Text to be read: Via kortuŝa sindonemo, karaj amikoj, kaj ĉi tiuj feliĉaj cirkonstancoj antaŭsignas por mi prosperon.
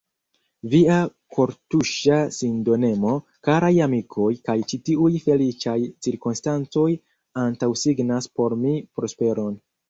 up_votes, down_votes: 0, 2